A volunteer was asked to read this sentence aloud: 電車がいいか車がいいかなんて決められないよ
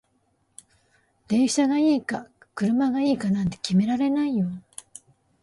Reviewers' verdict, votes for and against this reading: accepted, 2, 0